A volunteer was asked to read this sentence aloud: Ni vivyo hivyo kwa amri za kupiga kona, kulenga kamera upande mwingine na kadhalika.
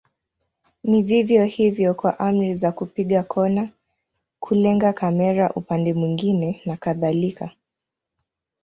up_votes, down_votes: 2, 0